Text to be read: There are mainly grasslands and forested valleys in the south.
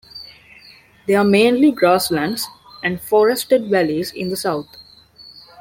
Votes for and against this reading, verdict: 2, 0, accepted